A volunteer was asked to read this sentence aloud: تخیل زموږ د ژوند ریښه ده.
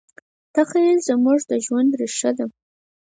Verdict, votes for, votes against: accepted, 4, 0